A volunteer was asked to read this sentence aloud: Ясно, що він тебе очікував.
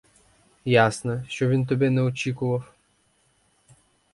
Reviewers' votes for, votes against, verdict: 0, 4, rejected